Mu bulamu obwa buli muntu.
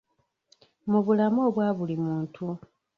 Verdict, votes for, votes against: rejected, 1, 2